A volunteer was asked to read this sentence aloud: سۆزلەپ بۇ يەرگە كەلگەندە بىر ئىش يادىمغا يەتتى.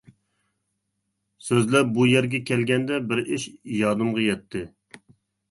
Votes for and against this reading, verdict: 2, 0, accepted